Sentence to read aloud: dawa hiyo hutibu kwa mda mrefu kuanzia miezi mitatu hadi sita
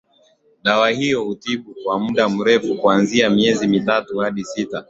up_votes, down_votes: 1, 3